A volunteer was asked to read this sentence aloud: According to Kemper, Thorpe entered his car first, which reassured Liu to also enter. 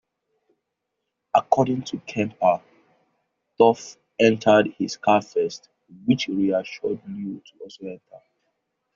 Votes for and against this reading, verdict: 0, 2, rejected